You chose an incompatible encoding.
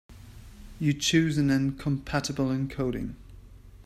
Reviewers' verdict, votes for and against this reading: rejected, 0, 2